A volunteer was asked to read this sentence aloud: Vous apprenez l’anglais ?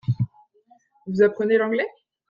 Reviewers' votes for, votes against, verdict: 2, 0, accepted